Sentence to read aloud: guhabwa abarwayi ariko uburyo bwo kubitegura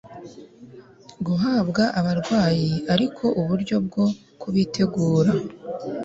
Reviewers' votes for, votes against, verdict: 2, 0, accepted